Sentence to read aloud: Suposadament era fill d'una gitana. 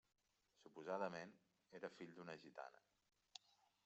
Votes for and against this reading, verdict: 2, 1, accepted